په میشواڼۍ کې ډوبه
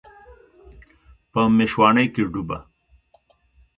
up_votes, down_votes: 2, 0